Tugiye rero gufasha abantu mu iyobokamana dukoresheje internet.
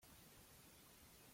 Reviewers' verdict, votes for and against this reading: rejected, 0, 2